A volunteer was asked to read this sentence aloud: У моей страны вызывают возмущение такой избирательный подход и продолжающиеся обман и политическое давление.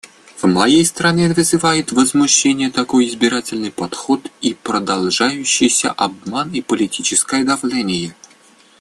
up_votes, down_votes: 1, 2